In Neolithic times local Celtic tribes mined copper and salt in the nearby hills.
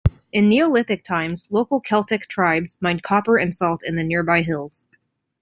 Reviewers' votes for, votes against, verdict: 2, 0, accepted